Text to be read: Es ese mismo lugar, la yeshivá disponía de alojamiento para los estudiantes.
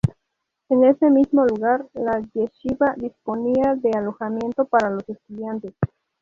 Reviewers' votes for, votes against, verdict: 0, 4, rejected